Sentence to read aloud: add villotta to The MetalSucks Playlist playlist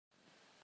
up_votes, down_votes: 0, 2